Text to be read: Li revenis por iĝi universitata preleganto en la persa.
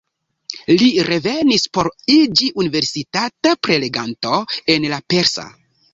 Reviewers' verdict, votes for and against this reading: accepted, 2, 0